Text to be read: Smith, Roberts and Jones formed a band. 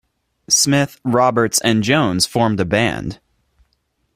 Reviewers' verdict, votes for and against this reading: accepted, 2, 0